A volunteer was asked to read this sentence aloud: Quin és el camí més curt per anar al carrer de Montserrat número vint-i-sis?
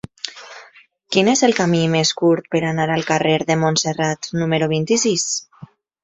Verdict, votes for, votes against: accepted, 2, 0